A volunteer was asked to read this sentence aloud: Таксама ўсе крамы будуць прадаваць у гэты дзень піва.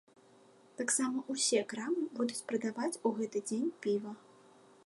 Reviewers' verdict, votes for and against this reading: rejected, 1, 2